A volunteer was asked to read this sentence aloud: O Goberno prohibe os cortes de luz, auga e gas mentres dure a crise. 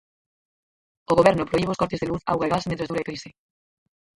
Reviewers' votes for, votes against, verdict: 0, 4, rejected